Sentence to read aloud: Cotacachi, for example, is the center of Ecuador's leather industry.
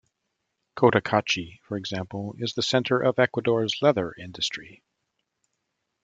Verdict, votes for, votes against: accepted, 2, 1